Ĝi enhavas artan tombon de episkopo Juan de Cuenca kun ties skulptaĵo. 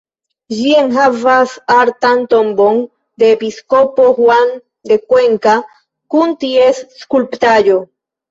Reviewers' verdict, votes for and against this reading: rejected, 1, 2